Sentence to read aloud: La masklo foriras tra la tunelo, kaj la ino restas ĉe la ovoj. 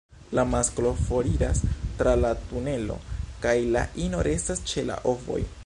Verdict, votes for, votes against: accepted, 2, 0